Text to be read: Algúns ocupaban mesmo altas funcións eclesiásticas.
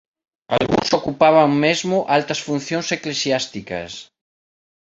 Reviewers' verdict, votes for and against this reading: rejected, 0, 2